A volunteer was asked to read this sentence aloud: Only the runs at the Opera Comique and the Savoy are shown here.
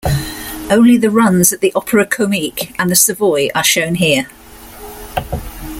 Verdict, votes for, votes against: accepted, 2, 0